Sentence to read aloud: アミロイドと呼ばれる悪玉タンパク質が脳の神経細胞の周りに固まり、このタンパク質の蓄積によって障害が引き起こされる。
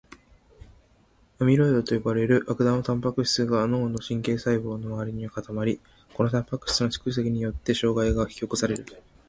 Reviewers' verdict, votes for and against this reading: accepted, 2, 0